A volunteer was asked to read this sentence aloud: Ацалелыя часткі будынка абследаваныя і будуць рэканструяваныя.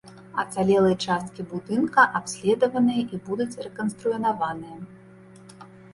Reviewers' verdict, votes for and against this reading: rejected, 0, 2